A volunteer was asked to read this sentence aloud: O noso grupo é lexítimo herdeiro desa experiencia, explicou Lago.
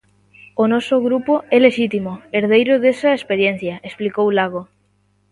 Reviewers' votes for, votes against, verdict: 2, 0, accepted